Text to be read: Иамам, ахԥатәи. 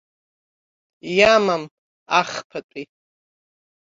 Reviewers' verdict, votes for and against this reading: rejected, 1, 2